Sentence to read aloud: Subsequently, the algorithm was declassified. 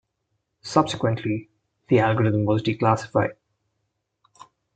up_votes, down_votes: 2, 0